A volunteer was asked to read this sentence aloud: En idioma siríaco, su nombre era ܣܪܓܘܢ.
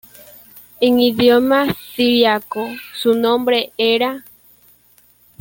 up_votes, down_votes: 1, 2